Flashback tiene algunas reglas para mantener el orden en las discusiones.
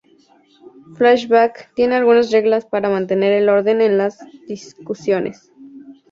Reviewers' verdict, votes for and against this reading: accepted, 4, 0